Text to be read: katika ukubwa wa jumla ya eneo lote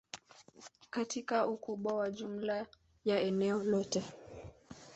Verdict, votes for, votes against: accepted, 2, 1